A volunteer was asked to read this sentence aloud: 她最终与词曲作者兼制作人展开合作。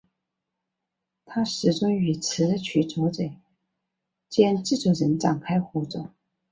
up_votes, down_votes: 2, 0